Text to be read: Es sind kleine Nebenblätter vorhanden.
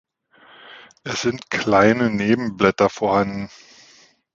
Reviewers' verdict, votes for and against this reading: accepted, 2, 0